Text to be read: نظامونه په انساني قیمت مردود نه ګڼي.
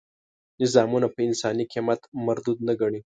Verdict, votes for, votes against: accepted, 2, 0